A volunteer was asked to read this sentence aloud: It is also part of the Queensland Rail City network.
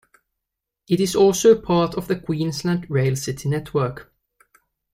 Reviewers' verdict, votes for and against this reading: accepted, 2, 0